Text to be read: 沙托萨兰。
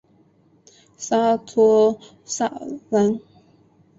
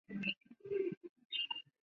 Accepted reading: first